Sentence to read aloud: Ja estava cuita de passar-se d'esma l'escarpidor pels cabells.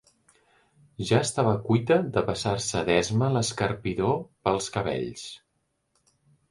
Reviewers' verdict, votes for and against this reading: accepted, 2, 0